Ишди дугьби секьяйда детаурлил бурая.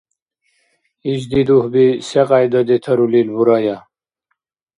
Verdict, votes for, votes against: rejected, 0, 2